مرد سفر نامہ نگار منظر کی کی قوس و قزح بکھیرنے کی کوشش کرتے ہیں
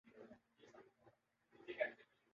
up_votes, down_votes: 0, 2